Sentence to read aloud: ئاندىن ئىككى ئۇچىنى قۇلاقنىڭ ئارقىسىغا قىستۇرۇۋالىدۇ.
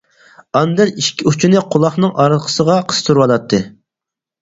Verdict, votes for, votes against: rejected, 0, 4